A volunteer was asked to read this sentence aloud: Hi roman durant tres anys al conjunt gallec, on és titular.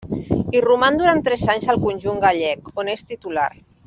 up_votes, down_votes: 2, 0